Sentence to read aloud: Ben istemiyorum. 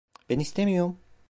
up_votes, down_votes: 1, 2